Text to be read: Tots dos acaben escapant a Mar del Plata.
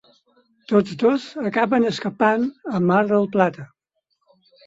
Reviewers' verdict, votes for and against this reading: accepted, 6, 2